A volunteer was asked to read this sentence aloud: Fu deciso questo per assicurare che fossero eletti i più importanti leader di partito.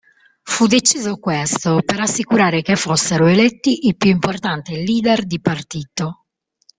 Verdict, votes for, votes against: rejected, 1, 2